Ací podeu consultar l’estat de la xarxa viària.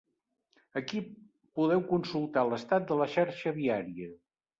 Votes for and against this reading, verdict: 0, 2, rejected